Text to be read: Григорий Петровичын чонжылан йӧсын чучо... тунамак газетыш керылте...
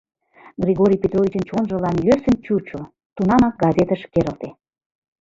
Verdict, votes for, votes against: rejected, 2, 4